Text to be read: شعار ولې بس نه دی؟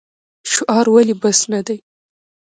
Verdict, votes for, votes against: accepted, 2, 0